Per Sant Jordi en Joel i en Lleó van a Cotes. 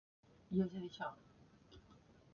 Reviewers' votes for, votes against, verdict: 0, 2, rejected